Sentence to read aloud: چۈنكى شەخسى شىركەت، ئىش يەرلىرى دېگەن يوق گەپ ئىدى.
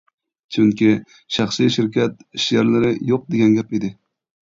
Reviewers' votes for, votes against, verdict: 0, 2, rejected